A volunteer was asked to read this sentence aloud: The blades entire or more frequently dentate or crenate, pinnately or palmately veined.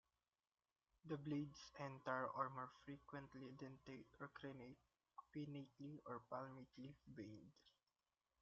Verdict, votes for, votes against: rejected, 1, 2